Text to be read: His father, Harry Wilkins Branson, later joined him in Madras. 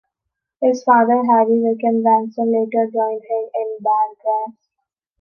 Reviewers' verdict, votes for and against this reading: rejected, 0, 2